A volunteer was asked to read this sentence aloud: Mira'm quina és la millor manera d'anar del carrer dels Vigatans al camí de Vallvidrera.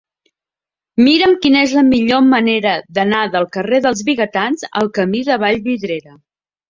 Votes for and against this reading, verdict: 3, 0, accepted